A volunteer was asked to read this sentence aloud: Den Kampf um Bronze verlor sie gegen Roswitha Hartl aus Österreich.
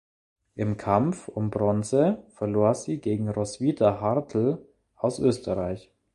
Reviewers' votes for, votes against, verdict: 0, 2, rejected